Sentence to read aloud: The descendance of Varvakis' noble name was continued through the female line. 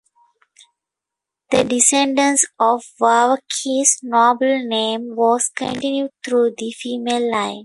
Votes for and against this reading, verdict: 0, 2, rejected